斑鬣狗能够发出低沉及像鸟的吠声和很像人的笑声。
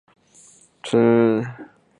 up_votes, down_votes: 0, 3